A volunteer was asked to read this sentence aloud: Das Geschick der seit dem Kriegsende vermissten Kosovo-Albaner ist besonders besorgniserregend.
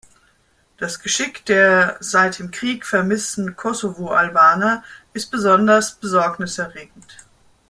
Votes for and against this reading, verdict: 0, 2, rejected